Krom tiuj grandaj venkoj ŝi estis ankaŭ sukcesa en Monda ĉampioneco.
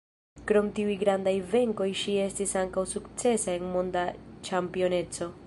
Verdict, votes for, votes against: rejected, 1, 2